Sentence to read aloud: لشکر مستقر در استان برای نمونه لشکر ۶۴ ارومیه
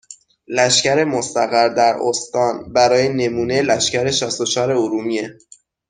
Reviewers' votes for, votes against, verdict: 0, 2, rejected